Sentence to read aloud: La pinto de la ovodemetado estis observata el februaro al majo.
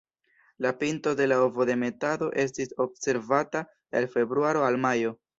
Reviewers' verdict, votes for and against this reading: rejected, 1, 2